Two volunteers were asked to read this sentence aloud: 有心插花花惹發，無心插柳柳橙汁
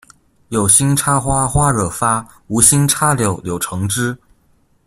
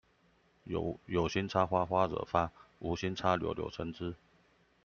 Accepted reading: first